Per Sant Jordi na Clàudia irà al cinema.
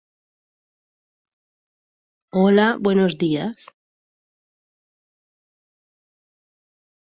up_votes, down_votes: 0, 2